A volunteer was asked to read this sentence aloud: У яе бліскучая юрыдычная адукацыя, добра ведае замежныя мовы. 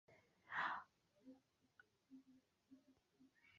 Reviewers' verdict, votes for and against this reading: rejected, 0, 2